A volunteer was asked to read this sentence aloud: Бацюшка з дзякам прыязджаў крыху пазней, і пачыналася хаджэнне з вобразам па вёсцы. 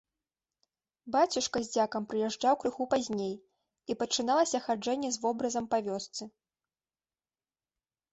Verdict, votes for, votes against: accepted, 2, 0